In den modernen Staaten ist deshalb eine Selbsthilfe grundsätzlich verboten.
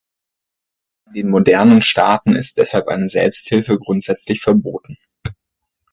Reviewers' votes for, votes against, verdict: 2, 4, rejected